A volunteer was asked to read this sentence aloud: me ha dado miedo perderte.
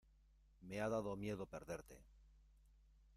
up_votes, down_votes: 2, 0